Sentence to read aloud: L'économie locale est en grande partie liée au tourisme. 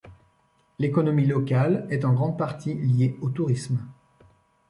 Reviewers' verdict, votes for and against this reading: accepted, 2, 0